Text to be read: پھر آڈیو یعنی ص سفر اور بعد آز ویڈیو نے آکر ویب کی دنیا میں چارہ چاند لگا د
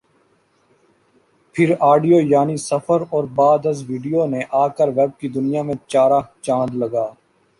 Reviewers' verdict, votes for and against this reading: rejected, 1, 2